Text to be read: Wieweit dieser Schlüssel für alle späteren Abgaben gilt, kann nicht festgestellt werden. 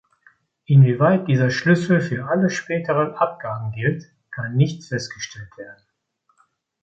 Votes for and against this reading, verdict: 0, 2, rejected